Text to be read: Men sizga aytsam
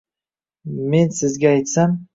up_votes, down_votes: 2, 0